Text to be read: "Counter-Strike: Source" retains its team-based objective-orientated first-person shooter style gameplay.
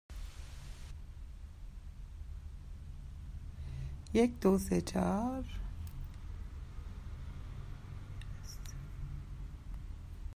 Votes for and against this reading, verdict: 0, 2, rejected